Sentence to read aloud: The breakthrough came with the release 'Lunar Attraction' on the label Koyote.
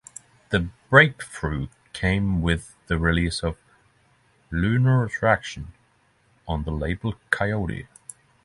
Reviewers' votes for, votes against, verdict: 6, 0, accepted